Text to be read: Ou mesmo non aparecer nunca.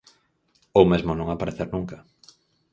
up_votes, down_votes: 4, 0